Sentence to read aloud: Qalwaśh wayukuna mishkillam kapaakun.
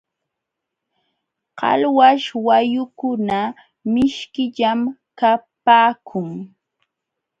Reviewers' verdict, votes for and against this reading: accepted, 2, 0